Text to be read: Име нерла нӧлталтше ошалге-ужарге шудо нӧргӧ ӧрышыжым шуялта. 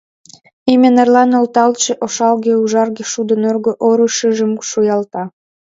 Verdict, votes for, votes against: rejected, 1, 2